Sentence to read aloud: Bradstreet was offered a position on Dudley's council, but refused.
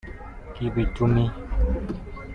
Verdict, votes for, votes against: rejected, 0, 2